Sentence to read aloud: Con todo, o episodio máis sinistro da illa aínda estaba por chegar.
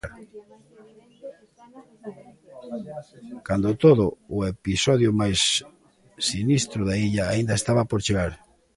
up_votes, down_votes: 0, 2